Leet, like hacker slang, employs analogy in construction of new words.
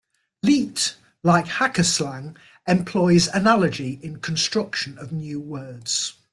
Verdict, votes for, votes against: accepted, 2, 0